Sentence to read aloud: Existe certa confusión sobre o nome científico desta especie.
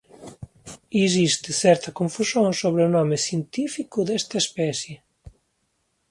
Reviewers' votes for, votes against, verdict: 0, 2, rejected